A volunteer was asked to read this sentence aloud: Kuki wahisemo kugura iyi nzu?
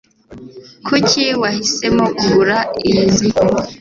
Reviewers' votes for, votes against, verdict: 2, 0, accepted